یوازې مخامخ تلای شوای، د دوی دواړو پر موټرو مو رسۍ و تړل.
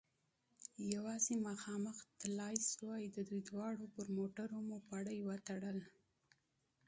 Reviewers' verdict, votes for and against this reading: accepted, 2, 1